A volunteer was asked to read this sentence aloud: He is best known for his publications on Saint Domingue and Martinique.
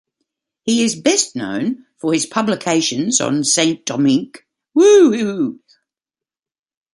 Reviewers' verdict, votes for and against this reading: rejected, 1, 2